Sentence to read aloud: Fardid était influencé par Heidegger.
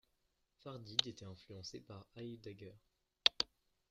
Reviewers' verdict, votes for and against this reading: accepted, 2, 0